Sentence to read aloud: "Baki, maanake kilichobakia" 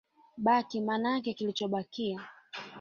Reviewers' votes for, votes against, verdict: 0, 2, rejected